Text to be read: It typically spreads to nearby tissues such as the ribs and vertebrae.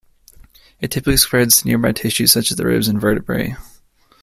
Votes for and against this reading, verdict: 3, 1, accepted